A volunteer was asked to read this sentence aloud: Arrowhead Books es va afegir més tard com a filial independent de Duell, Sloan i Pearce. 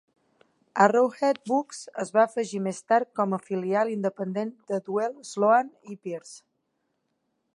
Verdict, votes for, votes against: accepted, 2, 0